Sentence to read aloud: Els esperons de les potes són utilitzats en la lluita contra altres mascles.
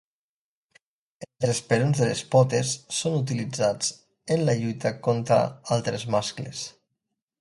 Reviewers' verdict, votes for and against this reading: rejected, 1, 2